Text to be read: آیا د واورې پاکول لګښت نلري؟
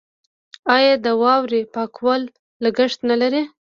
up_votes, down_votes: 2, 0